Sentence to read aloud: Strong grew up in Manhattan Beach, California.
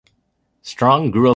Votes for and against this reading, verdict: 0, 2, rejected